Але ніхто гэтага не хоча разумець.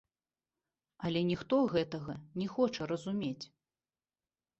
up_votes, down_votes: 2, 1